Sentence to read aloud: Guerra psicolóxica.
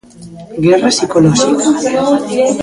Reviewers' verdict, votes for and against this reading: accepted, 2, 1